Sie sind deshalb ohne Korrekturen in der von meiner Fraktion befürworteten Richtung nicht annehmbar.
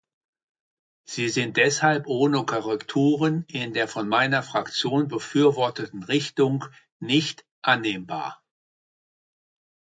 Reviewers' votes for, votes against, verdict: 2, 1, accepted